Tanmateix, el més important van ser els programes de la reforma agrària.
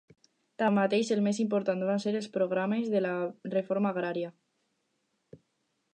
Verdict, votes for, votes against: accepted, 4, 0